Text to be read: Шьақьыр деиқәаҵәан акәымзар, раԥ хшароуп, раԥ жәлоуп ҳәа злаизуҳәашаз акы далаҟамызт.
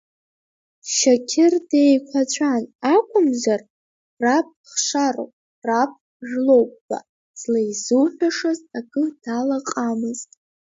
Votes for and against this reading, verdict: 0, 2, rejected